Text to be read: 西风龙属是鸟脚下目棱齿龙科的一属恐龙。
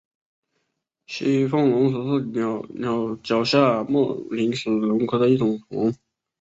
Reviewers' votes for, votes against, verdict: 0, 2, rejected